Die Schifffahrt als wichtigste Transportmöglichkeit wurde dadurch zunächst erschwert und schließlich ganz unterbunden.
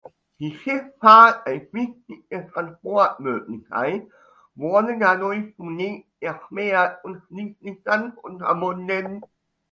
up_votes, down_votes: 1, 2